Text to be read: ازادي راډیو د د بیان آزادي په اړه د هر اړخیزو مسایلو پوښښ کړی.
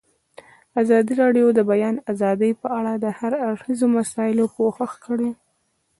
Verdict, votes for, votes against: rejected, 1, 2